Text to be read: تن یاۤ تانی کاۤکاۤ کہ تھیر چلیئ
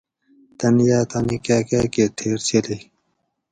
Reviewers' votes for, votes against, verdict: 4, 0, accepted